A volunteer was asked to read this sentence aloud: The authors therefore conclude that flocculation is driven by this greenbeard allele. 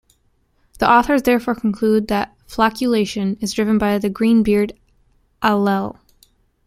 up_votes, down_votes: 0, 2